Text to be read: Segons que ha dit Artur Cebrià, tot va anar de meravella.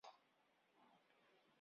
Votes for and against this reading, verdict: 1, 2, rejected